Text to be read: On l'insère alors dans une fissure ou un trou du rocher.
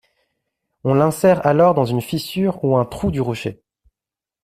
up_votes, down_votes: 2, 0